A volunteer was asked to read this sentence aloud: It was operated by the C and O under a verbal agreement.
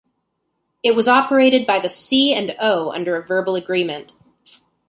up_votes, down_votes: 2, 0